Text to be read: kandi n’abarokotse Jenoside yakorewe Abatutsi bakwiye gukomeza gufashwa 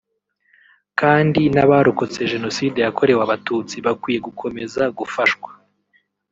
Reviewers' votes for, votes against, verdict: 2, 0, accepted